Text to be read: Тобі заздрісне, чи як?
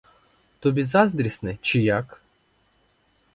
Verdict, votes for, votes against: accepted, 4, 0